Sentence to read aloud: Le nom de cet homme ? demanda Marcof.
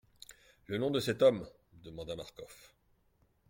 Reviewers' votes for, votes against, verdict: 2, 0, accepted